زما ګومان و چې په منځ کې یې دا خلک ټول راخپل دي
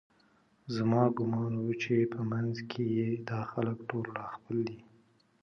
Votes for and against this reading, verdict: 2, 0, accepted